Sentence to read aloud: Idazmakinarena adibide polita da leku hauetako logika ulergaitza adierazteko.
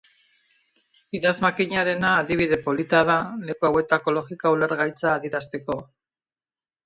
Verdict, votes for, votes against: rejected, 0, 2